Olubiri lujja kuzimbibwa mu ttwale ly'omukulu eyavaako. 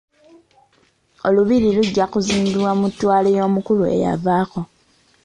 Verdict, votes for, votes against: rejected, 1, 2